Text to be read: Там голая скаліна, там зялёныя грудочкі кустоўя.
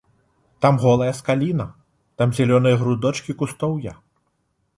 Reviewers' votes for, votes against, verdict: 2, 0, accepted